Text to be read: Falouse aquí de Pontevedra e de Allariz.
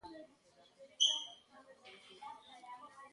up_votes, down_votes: 0, 2